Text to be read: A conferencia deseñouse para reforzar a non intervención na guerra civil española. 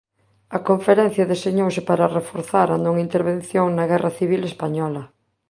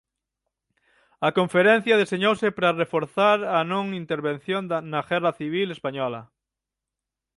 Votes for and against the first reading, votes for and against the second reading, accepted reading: 2, 0, 0, 9, first